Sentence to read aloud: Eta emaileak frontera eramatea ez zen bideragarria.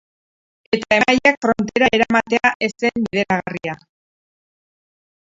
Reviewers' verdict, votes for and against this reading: rejected, 0, 6